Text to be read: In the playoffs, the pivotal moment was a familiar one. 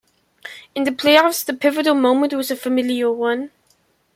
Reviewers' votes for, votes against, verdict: 2, 0, accepted